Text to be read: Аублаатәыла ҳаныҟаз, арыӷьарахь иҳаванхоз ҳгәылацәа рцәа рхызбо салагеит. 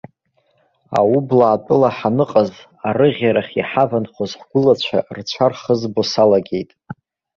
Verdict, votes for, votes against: rejected, 1, 2